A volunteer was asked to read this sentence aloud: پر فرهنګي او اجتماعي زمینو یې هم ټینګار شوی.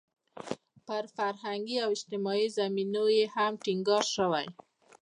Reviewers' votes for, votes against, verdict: 2, 0, accepted